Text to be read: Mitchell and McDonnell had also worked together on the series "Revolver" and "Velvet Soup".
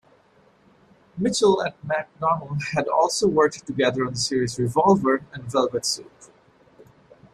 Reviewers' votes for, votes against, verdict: 2, 0, accepted